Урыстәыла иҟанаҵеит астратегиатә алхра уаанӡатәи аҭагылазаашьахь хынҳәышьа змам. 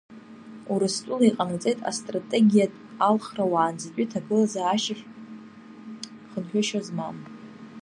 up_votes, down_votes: 2, 0